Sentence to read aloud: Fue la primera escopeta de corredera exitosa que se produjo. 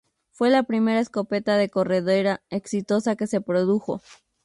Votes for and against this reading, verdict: 2, 2, rejected